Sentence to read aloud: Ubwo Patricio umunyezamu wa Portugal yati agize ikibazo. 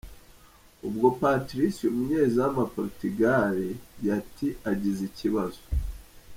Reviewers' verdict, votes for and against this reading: rejected, 0, 2